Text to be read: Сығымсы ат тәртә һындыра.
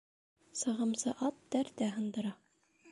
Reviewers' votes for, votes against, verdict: 2, 0, accepted